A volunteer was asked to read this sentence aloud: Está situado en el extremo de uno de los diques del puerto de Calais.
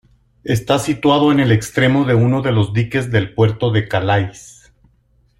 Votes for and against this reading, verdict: 2, 0, accepted